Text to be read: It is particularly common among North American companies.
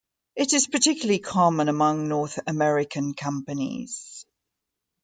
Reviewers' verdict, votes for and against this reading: accepted, 2, 0